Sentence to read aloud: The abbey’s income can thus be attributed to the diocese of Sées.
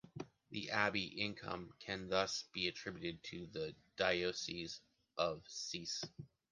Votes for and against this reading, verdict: 1, 2, rejected